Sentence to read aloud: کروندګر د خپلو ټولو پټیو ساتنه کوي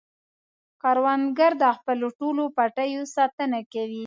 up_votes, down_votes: 2, 0